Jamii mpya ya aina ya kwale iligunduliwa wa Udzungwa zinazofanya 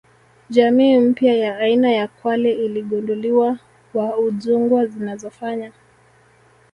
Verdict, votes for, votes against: rejected, 1, 2